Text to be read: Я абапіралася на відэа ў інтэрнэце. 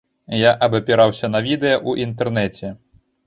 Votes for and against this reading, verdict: 0, 2, rejected